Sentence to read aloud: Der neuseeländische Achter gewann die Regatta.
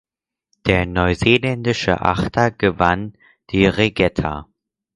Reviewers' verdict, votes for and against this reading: rejected, 2, 4